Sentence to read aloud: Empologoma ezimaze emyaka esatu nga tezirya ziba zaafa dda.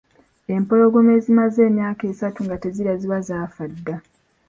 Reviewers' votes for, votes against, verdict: 2, 0, accepted